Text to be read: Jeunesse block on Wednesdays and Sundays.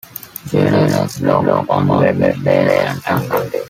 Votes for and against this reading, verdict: 2, 0, accepted